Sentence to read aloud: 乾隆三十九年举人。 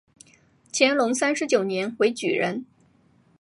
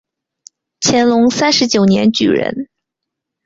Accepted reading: second